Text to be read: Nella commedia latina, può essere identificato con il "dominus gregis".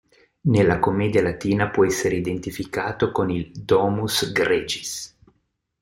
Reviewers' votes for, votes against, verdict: 0, 3, rejected